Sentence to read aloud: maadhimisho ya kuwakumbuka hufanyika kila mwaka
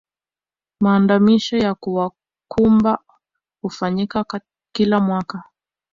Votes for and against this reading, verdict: 0, 2, rejected